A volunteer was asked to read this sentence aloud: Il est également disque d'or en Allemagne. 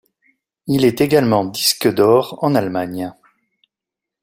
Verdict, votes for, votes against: accepted, 2, 0